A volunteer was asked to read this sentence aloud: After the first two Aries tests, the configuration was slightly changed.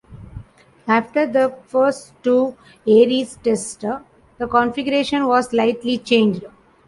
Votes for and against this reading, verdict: 2, 0, accepted